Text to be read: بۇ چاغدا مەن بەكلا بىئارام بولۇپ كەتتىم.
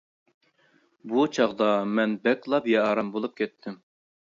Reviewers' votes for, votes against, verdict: 2, 0, accepted